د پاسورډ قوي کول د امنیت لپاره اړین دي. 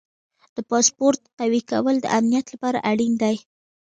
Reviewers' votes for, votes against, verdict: 1, 2, rejected